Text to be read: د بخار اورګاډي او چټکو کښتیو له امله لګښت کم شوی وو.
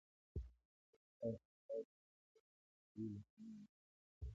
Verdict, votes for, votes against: rejected, 0, 2